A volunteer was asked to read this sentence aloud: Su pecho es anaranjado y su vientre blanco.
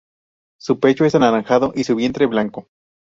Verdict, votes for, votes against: rejected, 0, 2